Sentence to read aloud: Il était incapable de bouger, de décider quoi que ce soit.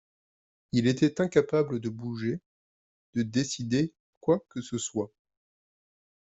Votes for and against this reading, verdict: 2, 0, accepted